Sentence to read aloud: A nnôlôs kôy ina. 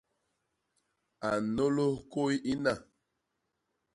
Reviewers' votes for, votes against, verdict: 2, 0, accepted